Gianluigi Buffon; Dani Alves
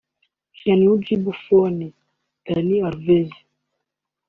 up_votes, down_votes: 2, 1